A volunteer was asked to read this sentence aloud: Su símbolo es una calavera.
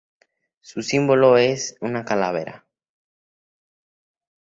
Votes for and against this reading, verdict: 2, 0, accepted